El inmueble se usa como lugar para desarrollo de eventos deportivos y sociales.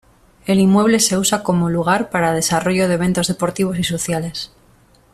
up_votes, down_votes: 2, 0